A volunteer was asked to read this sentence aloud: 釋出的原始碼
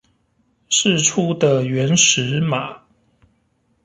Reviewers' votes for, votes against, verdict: 2, 0, accepted